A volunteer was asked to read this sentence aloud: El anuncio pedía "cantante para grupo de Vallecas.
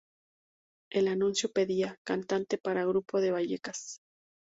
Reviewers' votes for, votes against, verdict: 2, 0, accepted